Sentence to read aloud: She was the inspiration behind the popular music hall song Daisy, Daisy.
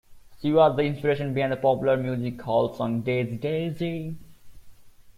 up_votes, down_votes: 1, 2